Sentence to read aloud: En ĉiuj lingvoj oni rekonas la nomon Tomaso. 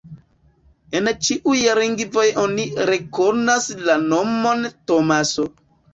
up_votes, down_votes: 0, 2